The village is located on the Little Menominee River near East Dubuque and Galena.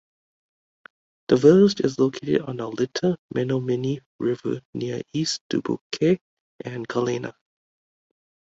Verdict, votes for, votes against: rejected, 1, 2